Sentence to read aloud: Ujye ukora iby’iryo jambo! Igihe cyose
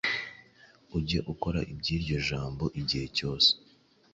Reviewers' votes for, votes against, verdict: 2, 0, accepted